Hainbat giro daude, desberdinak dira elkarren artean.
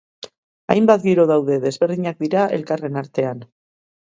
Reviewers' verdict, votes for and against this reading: accepted, 4, 0